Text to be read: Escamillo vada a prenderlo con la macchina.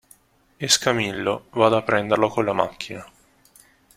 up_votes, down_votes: 2, 1